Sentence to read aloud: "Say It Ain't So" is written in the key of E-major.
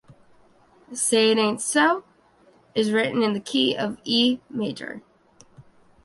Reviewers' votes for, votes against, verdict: 1, 2, rejected